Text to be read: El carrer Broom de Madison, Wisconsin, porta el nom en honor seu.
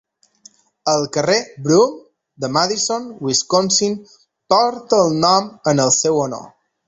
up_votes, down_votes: 0, 3